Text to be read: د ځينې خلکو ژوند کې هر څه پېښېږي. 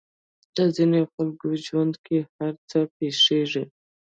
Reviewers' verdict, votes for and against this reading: accepted, 2, 0